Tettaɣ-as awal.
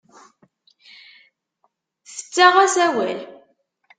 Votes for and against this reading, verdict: 2, 0, accepted